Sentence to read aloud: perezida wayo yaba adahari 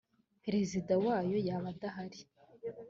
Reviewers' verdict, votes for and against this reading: accepted, 3, 0